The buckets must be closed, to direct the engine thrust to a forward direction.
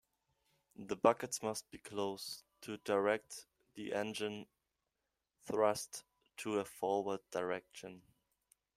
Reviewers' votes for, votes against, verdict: 2, 1, accepted